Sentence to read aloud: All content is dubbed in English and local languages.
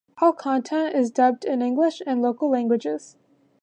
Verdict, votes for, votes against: accepted, 2, 0